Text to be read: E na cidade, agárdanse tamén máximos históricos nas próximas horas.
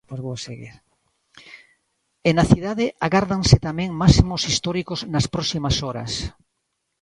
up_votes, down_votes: 1, 2